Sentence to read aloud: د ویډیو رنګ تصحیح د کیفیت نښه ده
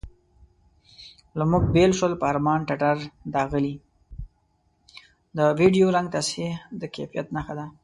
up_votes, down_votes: 1, 2